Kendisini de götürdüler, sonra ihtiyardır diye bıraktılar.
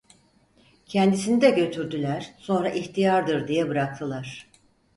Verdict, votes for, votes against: accepted, 4, 0